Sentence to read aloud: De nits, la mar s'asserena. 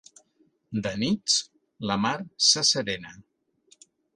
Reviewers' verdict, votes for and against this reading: accepted, 4, 0